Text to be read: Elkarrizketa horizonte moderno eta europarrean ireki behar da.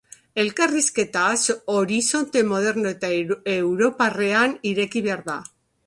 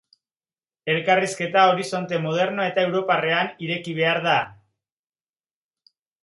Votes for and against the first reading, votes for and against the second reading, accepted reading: 0, 2, 3, 0, second